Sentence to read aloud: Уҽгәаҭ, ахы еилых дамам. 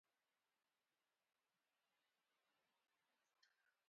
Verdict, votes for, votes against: rejected, 0, 2